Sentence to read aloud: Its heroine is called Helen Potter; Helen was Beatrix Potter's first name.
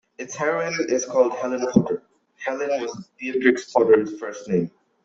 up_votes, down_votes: 2, 1